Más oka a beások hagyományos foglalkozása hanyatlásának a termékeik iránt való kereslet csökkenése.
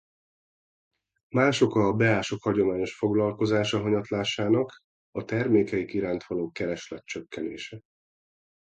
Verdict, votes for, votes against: accepted, 2, 0